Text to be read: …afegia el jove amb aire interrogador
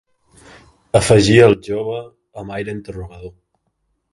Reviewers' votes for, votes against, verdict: 3, 1, accepted